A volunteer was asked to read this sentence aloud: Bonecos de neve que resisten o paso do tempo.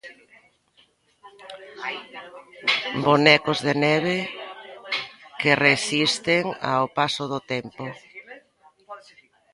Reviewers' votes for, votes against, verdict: 0, 3, rejected